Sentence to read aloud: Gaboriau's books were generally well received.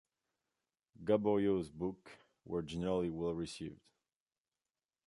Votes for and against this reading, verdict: 1, 2, rejected